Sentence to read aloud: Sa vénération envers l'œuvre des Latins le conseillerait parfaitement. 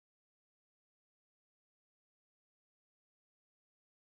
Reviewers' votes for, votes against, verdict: 0, 2, rejected